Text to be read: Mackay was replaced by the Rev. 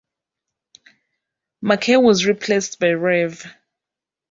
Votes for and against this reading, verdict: 1, 2, rejected